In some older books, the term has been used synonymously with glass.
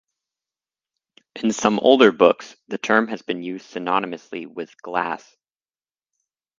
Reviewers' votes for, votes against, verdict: 2, 2, rejected